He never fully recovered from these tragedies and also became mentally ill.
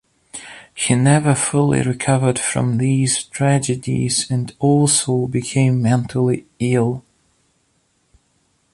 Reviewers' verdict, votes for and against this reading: accepted, 2, 0